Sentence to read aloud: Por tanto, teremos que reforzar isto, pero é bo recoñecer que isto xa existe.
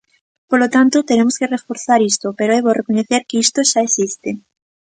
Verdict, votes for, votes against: rejected, 1, 2